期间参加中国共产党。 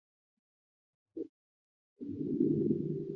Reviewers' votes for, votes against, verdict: 0, 4, rejected